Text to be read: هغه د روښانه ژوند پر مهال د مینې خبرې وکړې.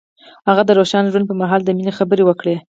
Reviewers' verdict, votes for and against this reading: accepted, 4, 0